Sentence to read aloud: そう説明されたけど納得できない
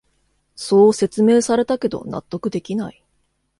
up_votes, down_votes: 2, 0